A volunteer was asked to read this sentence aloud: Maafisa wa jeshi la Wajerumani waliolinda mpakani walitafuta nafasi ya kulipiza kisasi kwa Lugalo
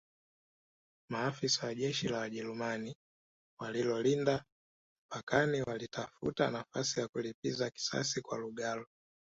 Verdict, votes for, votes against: accepted, 2, 1